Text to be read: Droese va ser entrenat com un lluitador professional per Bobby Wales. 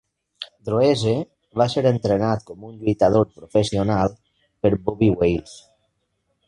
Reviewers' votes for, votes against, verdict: 3, 0, accepted